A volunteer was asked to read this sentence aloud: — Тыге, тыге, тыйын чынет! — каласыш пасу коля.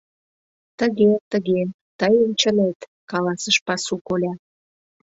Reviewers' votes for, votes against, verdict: 2, 0, accepted